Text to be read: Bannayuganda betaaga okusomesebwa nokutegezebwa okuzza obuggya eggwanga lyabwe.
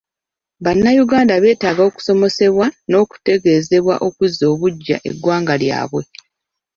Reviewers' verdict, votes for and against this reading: rejected, 1, 2